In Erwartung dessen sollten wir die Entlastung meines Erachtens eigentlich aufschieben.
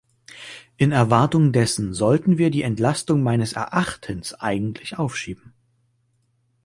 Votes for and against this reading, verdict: 2, 0, accepted